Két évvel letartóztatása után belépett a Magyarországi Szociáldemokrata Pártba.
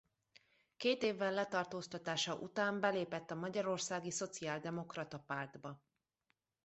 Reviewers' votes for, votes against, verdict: 2, 0, accepted